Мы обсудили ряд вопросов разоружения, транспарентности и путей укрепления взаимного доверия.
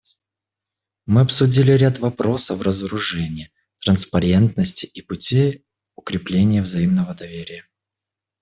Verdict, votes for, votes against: accepted, 2, 0